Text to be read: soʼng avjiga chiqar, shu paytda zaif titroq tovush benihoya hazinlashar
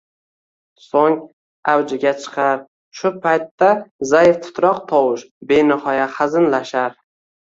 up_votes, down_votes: 1, 2